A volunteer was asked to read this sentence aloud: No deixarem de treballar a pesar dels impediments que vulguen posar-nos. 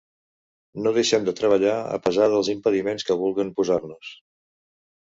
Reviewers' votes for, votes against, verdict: 0, 2, rejected